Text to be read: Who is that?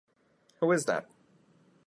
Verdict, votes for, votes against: accepted, 2, 0